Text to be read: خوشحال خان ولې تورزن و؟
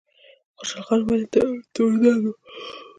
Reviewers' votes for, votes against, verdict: 1, 2, rejected